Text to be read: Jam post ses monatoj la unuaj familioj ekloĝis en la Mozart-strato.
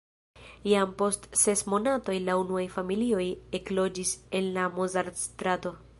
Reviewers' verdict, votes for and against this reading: accepted, 2, 0